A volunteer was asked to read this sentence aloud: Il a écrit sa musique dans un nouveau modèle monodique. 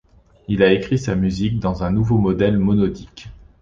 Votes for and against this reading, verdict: 2, 0, accepted